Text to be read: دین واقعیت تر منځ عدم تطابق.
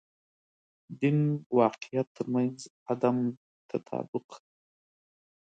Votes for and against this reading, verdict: 6, 2, accepted